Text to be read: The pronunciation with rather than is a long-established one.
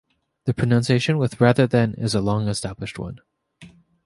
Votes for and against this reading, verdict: 2, 0, accepted